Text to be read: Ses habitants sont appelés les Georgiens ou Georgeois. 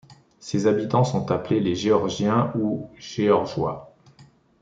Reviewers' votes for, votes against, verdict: 1, 2, rejected